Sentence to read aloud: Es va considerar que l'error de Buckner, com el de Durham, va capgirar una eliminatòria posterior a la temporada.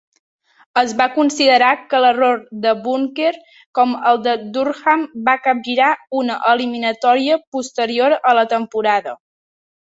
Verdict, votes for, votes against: rejected, 1, 2